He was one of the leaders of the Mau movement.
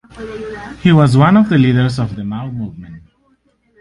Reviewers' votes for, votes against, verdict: 2, 0, accepted